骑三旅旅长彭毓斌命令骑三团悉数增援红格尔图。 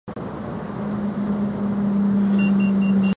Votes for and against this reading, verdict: 0, 4, rejected